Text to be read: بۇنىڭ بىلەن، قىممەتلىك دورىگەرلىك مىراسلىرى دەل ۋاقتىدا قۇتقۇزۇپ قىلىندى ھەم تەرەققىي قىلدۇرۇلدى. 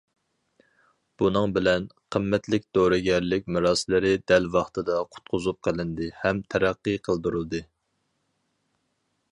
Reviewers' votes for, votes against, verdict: 4, 0, accepted